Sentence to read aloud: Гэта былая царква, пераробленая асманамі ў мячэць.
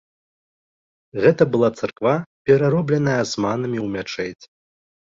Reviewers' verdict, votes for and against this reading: rejected, 0, 2